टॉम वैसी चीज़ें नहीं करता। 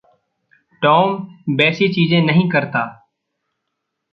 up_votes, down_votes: 2, 0